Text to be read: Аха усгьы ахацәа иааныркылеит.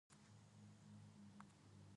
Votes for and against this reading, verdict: 0, 2, rejected